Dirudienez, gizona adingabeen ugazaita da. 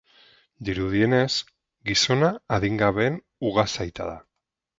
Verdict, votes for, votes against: accepted, 6, 0